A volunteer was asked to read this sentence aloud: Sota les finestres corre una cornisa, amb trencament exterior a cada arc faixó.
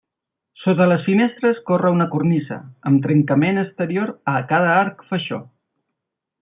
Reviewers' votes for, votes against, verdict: 1, 2, rejected